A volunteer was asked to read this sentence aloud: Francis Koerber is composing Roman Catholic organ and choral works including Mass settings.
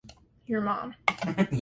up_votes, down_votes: 0, 2